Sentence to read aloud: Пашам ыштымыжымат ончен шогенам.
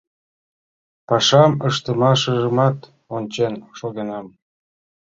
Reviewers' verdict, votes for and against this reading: accepted, 2, 0